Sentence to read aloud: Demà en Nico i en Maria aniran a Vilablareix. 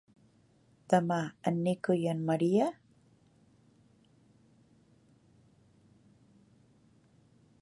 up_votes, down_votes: 0, 2